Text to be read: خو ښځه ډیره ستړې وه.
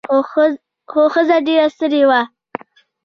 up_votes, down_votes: 0, 2